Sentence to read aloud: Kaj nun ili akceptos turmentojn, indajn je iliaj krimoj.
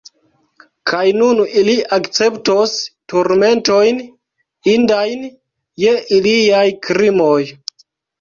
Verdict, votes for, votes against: rejected, 0, 2